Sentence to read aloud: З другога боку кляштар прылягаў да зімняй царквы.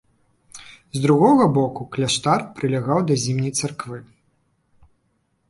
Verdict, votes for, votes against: rejected, 1, 2